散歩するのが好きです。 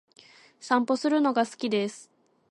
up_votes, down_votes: 2, 0